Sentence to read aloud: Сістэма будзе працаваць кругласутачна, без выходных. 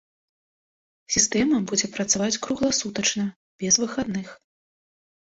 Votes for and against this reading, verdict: 0, 2, rejected